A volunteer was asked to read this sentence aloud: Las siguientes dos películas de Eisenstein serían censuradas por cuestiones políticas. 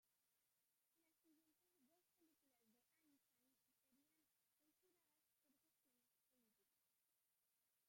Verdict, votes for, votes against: rejected, 1, 2